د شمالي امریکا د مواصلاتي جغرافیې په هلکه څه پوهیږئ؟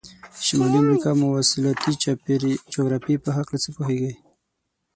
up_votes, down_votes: 3, 6